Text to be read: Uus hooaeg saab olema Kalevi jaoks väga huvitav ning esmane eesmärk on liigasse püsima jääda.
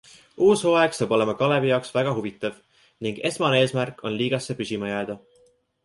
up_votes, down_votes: 2, 0